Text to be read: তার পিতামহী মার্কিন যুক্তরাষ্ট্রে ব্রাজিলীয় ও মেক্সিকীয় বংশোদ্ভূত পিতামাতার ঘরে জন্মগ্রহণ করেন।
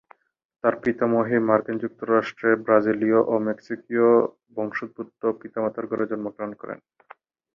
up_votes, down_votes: 8, 6